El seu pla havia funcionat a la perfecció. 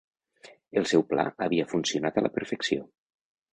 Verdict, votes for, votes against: accepted, 2, 0